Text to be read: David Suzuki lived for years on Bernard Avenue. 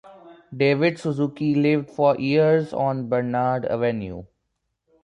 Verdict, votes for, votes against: accepted, 2, 0